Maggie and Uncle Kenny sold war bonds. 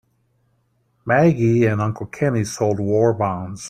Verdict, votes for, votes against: accepted, 2, 0